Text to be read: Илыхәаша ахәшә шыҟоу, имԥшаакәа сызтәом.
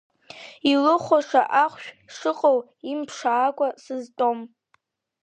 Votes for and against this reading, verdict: 2, 1, accepted